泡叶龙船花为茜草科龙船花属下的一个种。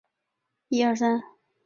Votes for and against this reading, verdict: 0, 3, rejected